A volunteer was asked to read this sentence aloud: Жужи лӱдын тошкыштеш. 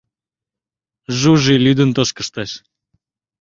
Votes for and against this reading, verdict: 2, 0, accepted